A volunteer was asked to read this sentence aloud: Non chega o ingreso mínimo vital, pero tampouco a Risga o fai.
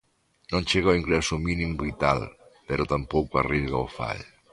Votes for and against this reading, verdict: 2, 0, accepted